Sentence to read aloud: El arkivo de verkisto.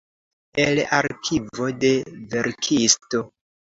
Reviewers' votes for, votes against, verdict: 2, 0, accepted